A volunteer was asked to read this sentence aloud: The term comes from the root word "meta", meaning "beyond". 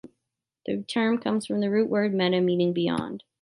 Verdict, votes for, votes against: accepted, 2, 0